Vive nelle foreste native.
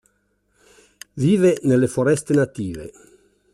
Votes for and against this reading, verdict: 2, 0, accepted